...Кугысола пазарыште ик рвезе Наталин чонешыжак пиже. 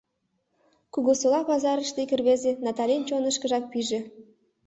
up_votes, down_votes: 1, 2